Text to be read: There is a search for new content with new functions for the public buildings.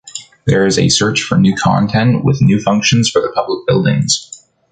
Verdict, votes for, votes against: accepted, 2, 0